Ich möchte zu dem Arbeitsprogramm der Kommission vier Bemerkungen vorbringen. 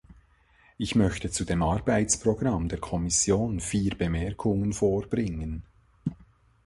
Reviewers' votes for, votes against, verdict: 2, 1, accepted